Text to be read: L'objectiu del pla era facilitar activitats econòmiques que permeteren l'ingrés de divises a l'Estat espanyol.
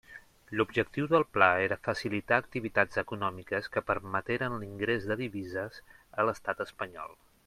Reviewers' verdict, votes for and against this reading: accepted, 6, 0